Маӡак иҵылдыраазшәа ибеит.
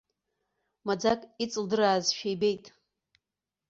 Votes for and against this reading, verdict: 2, 1, accepted